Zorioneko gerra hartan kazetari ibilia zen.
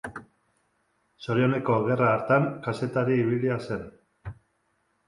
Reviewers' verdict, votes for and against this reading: accepted, 3, 0